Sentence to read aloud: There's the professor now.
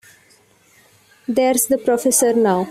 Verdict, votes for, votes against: accepted, 2, 1